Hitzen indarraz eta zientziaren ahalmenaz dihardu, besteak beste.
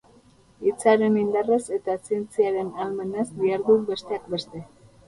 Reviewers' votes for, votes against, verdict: 2, 4, rejected